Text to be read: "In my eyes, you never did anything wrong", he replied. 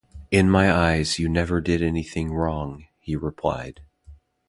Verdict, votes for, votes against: accepted, 2, 0